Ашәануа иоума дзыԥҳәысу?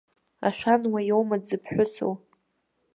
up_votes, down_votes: 0, 2